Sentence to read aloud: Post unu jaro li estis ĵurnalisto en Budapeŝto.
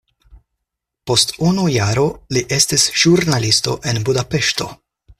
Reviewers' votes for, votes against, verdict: 4, 0, accepted